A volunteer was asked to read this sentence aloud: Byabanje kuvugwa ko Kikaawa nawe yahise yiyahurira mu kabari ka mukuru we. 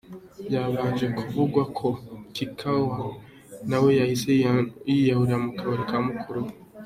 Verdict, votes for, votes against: rejected, 0, 2